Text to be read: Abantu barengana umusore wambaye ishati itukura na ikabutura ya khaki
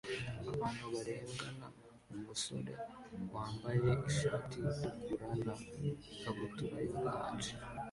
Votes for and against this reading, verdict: 0, 2, rejected